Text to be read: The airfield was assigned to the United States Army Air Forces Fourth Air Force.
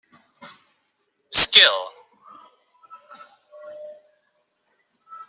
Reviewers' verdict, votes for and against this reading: rejected, 0, 2